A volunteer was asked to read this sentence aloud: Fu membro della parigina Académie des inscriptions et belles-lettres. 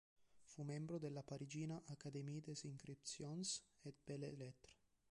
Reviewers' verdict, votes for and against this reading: rejected, 2, 4